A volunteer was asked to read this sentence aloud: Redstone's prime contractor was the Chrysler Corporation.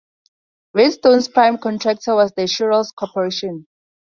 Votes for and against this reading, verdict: 2, 2, rejected